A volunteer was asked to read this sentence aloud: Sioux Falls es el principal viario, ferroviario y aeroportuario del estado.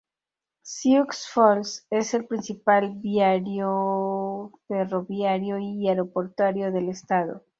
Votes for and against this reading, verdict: 0, 2, rejected